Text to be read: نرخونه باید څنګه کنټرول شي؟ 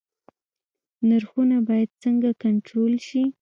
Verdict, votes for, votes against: accepted, 2, 1